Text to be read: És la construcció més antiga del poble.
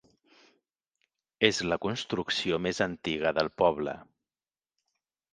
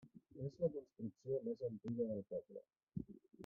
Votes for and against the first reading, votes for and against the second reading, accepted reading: 2, 0, 1, 2, first